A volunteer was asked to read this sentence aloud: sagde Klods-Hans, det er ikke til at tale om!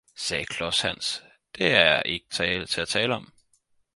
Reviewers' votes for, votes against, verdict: 2, 4, rejected